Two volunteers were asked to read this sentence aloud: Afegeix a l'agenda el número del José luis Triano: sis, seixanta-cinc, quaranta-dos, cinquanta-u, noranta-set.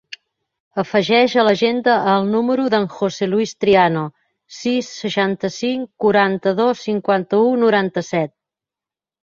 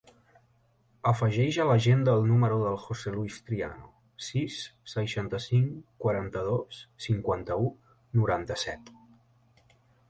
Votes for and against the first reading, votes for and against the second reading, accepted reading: 1, 2, 3, 0, second